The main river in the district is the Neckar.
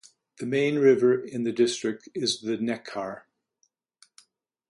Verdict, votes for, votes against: accepted, 2, 0